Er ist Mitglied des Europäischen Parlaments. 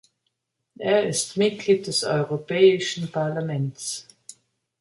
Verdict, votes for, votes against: accepted, 2, 0